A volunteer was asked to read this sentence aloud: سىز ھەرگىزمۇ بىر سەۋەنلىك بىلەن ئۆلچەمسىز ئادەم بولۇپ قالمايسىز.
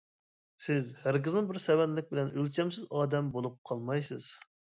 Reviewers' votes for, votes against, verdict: 2, 0, accepted